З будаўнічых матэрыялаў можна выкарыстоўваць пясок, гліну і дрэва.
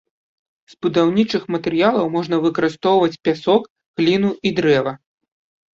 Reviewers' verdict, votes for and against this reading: accepted, 2, 0